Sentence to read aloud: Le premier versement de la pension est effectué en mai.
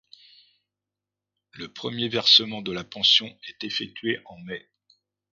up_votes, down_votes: 2, 0